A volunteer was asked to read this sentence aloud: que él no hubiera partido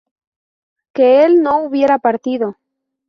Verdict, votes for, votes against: accepted, 2, 0